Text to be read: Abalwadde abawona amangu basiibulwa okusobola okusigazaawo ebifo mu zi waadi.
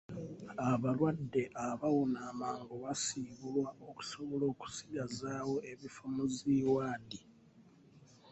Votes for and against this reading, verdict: 2, 0, accepted